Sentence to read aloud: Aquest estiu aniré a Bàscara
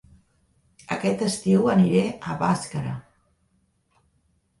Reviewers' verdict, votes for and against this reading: accepted, 2, 0